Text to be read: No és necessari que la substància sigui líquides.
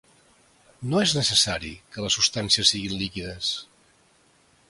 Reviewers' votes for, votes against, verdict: 1, 2, rejected